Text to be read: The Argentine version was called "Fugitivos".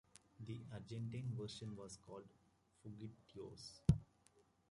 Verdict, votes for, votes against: rejected, 0, 2